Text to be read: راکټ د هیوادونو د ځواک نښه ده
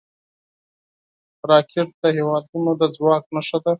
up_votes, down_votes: 4, 0